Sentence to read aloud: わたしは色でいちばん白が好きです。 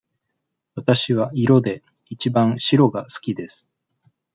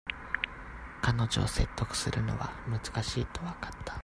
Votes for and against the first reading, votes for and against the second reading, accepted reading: 2, 0, 0, 2, first